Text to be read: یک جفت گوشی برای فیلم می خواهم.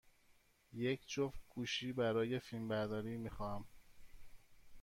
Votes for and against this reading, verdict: 1, 2, rejected